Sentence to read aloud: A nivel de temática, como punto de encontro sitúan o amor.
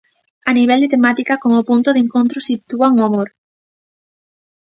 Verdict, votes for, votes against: accepted, 2, 0